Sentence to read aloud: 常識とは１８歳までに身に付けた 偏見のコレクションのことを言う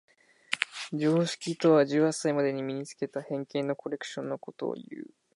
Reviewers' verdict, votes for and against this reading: rejected, 0, 2